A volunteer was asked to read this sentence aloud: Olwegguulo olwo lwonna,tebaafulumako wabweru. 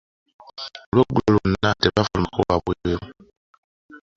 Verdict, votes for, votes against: rejected, 1, 2